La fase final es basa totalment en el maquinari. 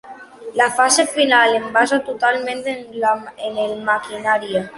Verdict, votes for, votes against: accepted, 2, 1